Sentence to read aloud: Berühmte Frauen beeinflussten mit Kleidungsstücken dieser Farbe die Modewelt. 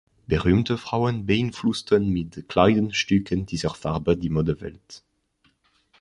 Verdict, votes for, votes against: accepted, 3, 0